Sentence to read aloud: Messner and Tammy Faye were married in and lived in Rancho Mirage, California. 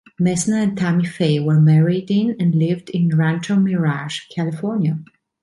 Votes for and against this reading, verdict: 2, 0, accepted